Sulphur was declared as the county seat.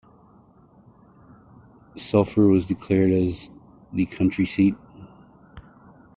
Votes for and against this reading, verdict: 0, 2, rejected